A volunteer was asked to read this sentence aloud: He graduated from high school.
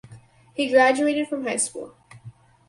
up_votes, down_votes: 4, 0